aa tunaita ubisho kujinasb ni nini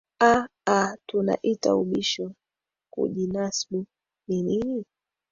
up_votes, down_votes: 0, 2